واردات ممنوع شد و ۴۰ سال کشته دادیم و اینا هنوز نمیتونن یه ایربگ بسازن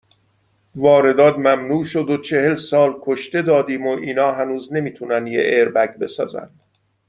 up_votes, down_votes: 0, 2